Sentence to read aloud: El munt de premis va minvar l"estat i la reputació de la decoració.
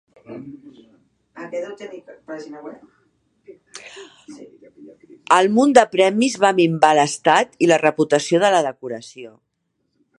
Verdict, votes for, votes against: rejected, 1, 3